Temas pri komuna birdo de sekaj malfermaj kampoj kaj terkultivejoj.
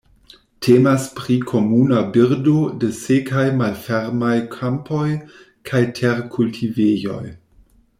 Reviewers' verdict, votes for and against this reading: accepted, 2, 0